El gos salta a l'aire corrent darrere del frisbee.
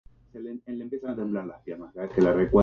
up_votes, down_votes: 0, 2